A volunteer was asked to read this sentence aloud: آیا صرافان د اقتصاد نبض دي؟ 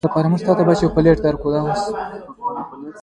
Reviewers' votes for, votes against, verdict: 0, 2, rejected